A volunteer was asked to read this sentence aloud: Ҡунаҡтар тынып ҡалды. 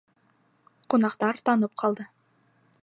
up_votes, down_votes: 0, 2